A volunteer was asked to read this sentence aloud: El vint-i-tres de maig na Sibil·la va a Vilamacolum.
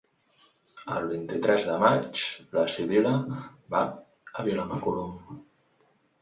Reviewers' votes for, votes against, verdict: 2, 1, accepted